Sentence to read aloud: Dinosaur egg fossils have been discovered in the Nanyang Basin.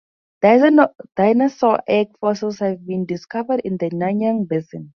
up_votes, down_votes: 2, 2